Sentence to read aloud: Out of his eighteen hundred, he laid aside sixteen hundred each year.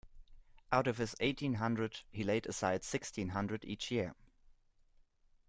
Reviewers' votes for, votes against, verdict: 2, 0, accepted